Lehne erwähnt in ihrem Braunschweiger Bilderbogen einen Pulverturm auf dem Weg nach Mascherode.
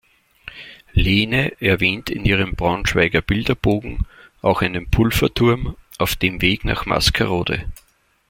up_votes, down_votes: 0, 2